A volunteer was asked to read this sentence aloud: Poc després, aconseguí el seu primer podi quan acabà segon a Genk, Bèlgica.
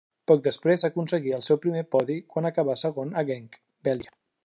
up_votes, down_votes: 2, 0